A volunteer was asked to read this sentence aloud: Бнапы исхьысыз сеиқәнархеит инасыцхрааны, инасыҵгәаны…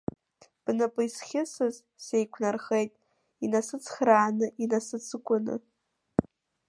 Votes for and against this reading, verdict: 2, 0, accepted